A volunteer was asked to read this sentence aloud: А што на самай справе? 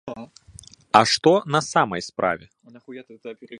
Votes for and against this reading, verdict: 1, 2, rejected